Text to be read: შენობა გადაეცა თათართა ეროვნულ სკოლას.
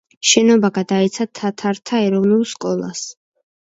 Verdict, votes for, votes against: accepted, 2, 0